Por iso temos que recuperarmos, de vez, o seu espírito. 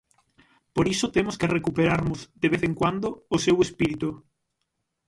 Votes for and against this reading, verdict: 0, 6, rejected